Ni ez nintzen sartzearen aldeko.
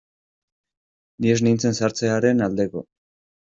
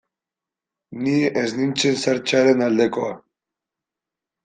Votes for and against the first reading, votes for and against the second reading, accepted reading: 2, 0, 1, 2, first